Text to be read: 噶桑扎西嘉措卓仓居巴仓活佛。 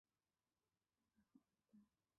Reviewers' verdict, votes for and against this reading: rejected, 1, 2